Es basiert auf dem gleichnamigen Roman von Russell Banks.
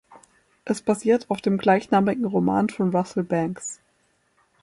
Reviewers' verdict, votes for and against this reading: accepted, 2, 0